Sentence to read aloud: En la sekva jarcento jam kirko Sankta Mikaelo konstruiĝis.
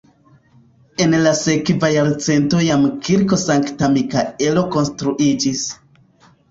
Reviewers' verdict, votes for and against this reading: accepted, 2, 1